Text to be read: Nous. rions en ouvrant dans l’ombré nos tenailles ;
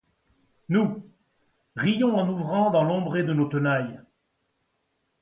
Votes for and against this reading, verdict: 0, 2, rejected